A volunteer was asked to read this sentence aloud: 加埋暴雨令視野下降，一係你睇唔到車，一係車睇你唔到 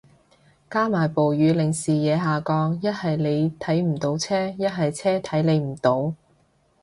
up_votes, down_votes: 2, 0